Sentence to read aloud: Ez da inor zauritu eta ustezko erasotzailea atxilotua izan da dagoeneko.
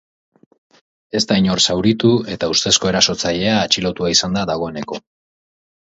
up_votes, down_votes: 2, 0